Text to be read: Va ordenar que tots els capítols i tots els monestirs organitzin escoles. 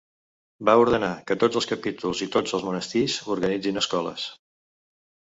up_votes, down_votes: 2, 0